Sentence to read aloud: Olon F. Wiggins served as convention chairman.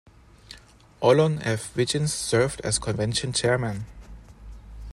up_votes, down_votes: 1, 2